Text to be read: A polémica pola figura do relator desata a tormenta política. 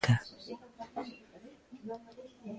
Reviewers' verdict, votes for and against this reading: rejected, 0, 2